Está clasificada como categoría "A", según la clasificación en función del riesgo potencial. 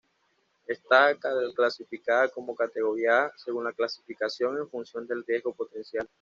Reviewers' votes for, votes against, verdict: 2, 0, accepted